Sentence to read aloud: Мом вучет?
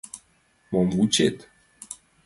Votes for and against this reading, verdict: 2, 0, accepted